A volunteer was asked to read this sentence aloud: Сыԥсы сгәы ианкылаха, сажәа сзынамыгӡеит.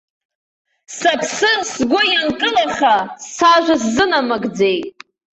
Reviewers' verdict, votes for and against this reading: accepted, 2, 0